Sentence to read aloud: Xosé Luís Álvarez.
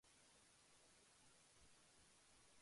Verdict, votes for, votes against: rejected, 0, 2